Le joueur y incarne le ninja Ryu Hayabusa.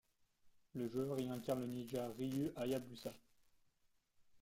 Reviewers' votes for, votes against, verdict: 1, 3, rejected